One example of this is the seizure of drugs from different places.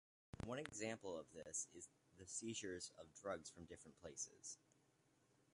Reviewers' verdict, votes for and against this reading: rejected, 1, 2